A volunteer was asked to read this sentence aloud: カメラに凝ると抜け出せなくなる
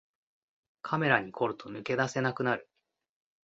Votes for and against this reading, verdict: 2, 0, accepted